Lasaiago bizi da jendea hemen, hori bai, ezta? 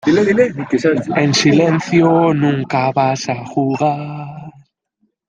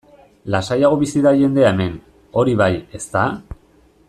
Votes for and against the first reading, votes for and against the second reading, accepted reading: 0, 2, 2, 1, second